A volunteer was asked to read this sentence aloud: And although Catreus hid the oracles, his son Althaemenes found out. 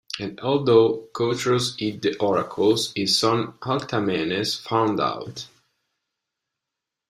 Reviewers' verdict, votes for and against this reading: accepted, 2, 0